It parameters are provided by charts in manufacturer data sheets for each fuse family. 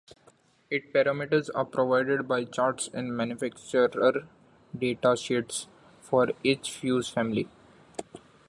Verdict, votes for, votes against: accepted, 2, 1